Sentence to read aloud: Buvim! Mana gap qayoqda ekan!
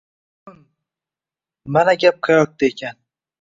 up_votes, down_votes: 1, 2